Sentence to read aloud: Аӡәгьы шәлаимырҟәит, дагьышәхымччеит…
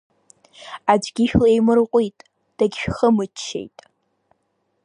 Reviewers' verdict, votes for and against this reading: accepted, 2, 0